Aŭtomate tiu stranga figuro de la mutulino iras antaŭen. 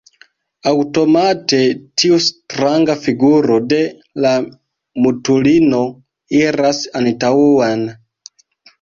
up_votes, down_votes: 1, 2